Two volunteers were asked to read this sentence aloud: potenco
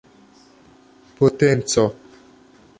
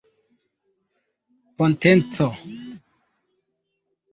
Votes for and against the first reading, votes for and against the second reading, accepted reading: 2, 0, 0, 2, first